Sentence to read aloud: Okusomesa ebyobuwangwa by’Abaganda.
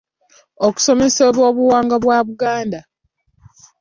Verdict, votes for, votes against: accepted, 2, 1